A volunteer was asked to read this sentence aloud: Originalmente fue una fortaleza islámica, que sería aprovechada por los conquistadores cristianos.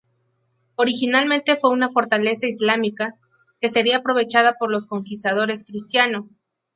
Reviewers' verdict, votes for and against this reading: accepted, 2, 0